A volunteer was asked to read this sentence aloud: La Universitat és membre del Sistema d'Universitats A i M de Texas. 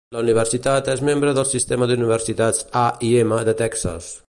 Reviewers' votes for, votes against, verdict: 2, 0, accepted